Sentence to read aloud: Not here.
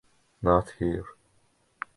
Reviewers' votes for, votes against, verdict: 2, 0, accepted